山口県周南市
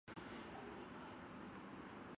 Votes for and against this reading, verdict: 1, 2, rejected